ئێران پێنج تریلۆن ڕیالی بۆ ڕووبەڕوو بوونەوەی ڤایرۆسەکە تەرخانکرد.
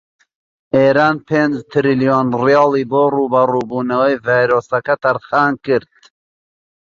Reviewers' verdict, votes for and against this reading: rejected, 1, 2